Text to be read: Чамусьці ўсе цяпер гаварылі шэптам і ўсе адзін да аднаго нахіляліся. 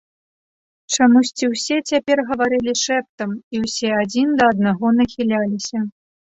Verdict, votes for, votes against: accepted, 2, 0